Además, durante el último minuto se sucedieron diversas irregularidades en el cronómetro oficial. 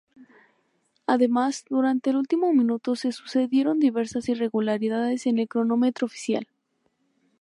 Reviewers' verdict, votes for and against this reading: accepted, 2, 0